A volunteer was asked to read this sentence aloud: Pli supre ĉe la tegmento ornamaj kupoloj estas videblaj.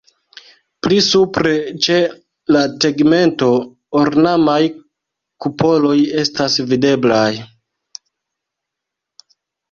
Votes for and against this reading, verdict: 2, 0, accepted